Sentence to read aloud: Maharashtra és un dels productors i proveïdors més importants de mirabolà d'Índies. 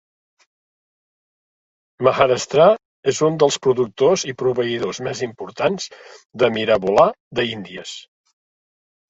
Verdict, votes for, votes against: rejected, 1, 2